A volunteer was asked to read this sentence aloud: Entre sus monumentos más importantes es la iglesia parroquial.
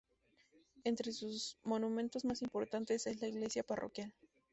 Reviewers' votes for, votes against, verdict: 2, 0, accepted